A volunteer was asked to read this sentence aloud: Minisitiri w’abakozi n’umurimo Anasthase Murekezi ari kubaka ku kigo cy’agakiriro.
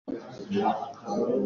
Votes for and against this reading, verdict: 0, 2, rejected